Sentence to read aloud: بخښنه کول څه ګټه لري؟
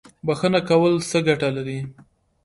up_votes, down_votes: 2, 0